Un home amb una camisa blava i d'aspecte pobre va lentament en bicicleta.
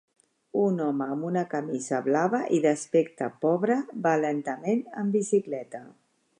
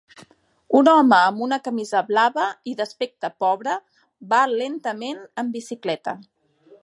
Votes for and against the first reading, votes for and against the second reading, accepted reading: 2, 0, 1, 2, first